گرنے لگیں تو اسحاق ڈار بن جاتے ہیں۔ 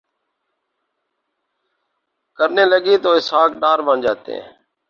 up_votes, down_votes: 2, 2